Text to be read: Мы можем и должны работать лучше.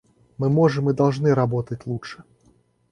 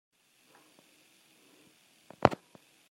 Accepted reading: first